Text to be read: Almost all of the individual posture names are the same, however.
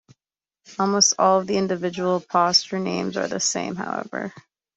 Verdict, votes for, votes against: accepted, 2, 0